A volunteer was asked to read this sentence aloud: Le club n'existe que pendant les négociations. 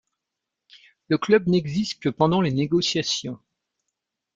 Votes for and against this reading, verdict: 2, 0, accepted